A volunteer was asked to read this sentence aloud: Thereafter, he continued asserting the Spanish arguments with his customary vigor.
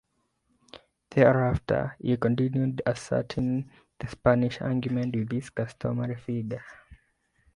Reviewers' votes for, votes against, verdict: 1, 2, rejected